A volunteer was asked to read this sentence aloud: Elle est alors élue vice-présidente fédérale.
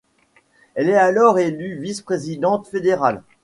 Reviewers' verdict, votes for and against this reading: accepted, 2, 0